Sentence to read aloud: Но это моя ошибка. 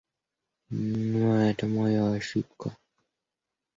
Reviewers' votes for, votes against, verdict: 1, 2, rejected